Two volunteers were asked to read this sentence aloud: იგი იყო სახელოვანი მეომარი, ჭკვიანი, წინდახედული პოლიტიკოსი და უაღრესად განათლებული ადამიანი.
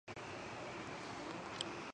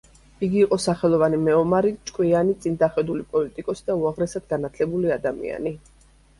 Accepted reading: second